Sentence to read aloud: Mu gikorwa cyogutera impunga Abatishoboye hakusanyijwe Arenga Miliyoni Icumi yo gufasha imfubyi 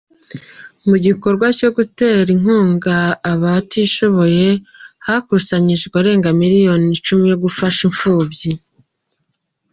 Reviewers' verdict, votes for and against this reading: accepted, 2, 0